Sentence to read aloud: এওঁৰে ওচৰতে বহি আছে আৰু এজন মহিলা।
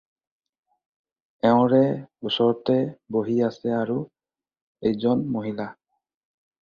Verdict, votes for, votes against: accepted, 4, 0